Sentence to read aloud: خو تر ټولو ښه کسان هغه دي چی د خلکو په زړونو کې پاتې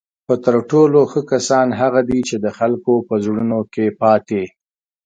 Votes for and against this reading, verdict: 2, 0, accepted